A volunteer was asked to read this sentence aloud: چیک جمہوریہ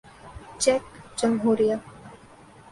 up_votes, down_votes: 2, 0